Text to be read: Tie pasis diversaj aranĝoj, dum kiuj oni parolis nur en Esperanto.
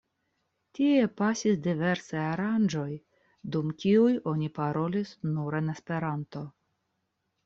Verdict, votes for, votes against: rejected, 1, 2